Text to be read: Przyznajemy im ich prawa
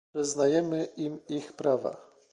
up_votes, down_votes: 2, 0